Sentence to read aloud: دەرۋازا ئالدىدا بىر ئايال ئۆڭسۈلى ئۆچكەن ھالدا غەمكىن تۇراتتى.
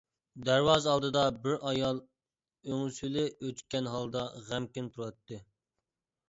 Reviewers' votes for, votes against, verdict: 2, 0, accepted